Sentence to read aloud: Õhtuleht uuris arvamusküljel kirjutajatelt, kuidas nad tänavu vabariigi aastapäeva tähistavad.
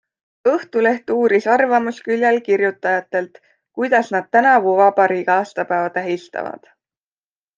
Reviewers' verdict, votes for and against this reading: accepted, 2, 0